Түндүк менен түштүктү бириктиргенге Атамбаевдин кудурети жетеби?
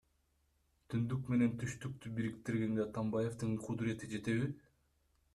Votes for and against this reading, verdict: 2, 1, accepted